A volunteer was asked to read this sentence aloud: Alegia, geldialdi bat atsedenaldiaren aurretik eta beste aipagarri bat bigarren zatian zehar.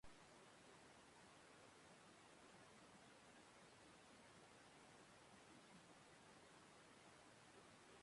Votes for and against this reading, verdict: 0, 2, rejected